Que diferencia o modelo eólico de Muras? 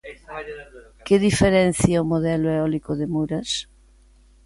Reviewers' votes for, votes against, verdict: 2, 1, accepted